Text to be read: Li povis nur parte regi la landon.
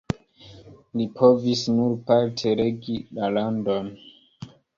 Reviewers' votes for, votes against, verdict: 2, 0, accepted